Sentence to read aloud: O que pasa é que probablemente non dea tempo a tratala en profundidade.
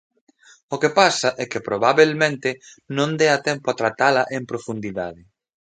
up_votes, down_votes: 1, 2